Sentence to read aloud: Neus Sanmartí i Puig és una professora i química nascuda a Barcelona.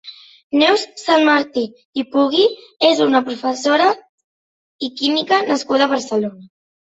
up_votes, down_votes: 1, 2